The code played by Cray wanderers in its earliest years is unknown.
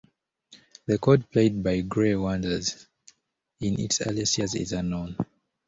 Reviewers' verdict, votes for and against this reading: accepted, 2, 1